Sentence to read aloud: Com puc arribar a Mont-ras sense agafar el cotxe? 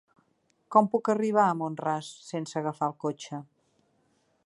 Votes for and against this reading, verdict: 3, 0, accepted